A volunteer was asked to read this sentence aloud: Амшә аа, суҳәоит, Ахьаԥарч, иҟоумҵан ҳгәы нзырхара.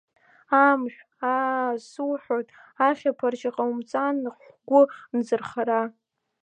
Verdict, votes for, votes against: rejected, 0, 2